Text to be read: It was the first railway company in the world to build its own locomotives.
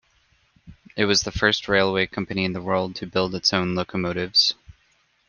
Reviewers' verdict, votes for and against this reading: accepted, 2, 0